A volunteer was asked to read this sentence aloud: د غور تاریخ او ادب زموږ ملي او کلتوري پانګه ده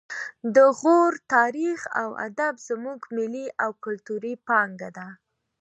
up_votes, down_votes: 2, 1